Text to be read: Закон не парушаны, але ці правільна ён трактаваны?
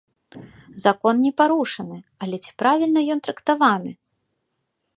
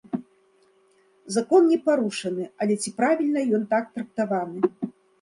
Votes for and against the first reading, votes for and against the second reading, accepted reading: 2, 0, 0, 2, first